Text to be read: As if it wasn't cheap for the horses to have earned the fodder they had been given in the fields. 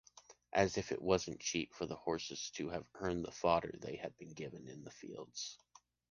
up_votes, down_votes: 2, 0